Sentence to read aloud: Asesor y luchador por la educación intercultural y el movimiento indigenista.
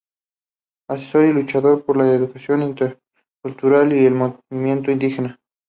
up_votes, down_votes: 2, 2